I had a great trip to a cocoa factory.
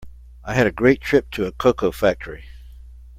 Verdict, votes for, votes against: accepted, 2, 0